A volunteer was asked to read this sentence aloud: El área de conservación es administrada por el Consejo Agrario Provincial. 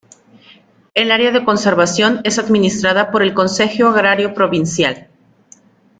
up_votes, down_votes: 1, 2